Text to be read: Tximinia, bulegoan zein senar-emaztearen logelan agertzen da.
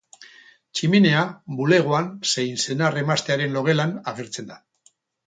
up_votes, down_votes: 2, 2